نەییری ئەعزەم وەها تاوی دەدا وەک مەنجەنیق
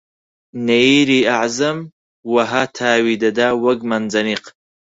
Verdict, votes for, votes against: accepted, 4, 0